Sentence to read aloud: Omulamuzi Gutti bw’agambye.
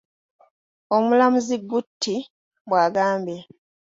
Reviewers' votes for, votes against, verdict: 2, 0, accepted